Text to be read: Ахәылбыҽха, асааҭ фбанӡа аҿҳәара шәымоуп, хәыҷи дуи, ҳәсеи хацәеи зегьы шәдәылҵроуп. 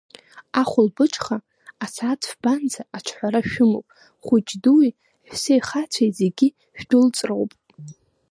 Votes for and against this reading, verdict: 1, 2, rejected